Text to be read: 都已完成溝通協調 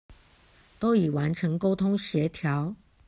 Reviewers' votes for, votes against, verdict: 2, 0, accepted